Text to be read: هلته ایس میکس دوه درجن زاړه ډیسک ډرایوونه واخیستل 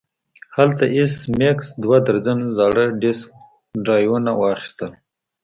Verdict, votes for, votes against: accepted, 2, 0